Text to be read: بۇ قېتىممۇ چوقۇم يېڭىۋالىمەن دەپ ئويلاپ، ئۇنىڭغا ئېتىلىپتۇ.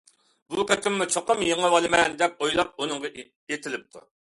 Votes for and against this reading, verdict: 2, 0, accepted